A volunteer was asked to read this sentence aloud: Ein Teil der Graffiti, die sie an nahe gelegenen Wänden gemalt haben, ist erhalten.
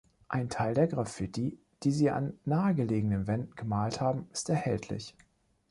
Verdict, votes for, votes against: rejected, 0, 2